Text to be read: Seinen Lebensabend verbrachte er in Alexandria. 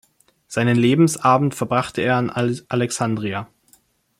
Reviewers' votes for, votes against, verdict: 2, 0, accepted